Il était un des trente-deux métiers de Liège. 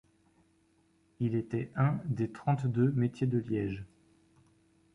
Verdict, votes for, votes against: accepted, 3, 0